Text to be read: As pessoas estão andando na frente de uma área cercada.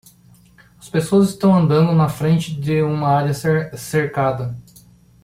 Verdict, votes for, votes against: rejected, 0, 2